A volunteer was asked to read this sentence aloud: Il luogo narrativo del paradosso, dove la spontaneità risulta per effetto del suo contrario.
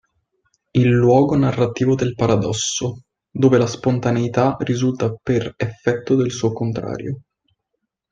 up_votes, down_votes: 2, 0